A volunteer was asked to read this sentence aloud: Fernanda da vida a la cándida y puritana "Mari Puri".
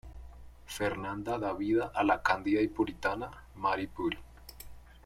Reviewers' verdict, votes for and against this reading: rejected, 1, 2